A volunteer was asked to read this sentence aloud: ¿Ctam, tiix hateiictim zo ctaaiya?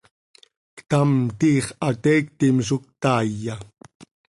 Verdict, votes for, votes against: accepted, 2, 0